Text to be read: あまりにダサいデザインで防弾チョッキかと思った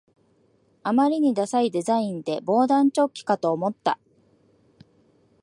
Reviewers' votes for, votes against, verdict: 1, 2, rejected